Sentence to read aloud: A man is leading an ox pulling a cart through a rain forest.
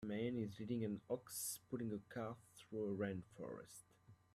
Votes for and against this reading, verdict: 0, 2, rejected